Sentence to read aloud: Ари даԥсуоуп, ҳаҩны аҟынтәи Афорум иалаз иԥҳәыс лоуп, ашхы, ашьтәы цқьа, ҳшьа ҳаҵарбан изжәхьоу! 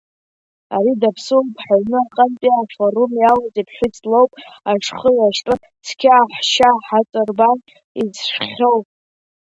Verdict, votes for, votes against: accepted, 2, 0